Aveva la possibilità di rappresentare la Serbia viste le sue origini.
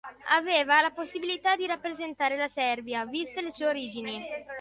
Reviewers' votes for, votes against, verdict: 2, 0, accepted